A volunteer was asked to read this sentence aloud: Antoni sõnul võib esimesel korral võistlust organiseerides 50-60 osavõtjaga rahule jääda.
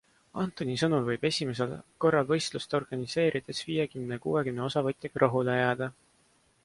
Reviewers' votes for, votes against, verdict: 0, 2, rejected